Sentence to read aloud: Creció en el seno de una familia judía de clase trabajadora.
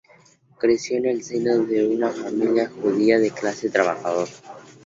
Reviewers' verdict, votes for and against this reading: accepted, 2, 0